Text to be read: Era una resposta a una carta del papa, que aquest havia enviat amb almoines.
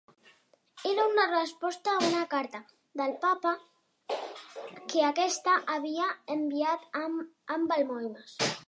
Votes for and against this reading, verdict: 1, 2, rejected